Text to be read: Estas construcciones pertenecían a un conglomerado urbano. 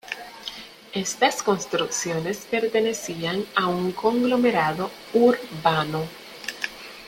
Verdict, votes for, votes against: rejected, 0, 2